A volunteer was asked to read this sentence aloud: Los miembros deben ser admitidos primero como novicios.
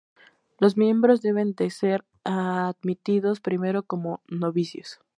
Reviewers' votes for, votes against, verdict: 0, 2, rejected